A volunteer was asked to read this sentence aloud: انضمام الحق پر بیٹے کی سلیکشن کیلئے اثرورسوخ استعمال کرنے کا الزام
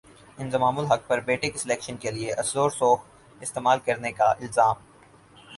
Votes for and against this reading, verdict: 4, 0, accepted